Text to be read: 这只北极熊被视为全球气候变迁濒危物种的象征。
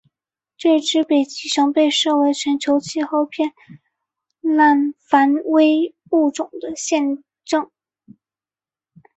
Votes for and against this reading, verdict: 0, 2, rejected